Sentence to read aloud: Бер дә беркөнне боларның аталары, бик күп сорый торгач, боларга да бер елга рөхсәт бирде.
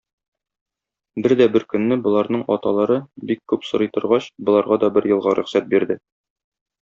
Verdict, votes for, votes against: accepted, 2, 0